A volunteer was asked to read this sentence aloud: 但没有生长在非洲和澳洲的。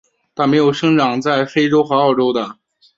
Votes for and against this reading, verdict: 2, 0, accepted